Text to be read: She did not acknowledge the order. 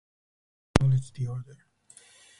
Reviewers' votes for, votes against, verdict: 0, 4, rejected